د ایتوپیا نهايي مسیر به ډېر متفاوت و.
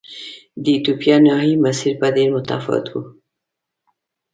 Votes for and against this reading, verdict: 2, 0, accepted